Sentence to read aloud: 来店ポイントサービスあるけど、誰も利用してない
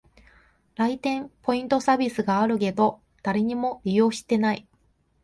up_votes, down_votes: 0, 2